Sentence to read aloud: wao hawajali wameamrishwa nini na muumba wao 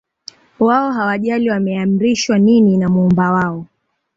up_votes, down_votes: 2, 0